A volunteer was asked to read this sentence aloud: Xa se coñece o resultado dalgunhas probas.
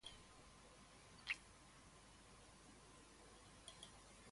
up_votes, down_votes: 0, 2